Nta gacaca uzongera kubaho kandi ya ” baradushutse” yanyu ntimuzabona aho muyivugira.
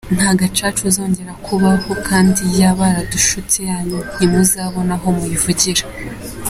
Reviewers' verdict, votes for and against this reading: accepted, 2, 0